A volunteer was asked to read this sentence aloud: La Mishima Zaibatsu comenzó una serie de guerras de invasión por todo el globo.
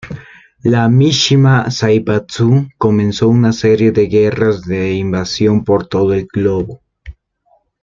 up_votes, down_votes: 2, 1